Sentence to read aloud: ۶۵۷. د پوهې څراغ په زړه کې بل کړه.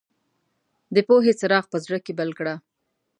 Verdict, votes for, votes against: rejected, 0, 2